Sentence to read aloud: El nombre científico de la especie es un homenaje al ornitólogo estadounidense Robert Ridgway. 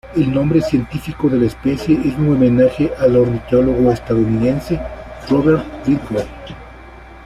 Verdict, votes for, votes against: rejected, 0, 2